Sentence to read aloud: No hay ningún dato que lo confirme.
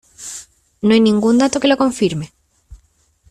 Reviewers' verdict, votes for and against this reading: accepted, 2, 0